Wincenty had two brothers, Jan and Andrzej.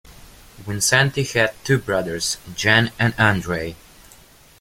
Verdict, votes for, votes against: rejected, 0, 2